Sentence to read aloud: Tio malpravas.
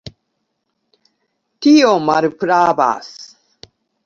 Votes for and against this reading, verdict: 2, 0, accepted